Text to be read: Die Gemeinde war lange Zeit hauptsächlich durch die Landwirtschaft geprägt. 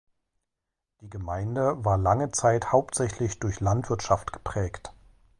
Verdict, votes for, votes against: rejected, 1, 2